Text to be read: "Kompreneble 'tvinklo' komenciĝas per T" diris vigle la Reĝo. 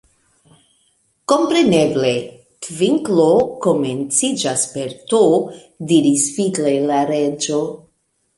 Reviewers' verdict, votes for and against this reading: accepted, 2, 0